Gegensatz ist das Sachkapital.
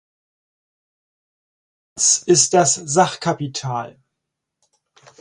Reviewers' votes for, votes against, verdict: 0, 4, rejected